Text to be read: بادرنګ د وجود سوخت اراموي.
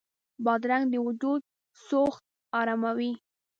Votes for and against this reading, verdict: 2, 0, accepted